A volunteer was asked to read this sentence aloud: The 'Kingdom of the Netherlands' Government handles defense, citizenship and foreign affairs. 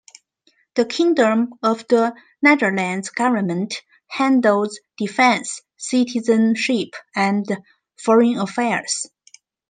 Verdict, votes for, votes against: accepted, 2, 0